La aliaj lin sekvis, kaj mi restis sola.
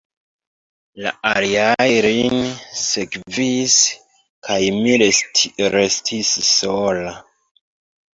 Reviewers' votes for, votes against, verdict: 1, 3, rejected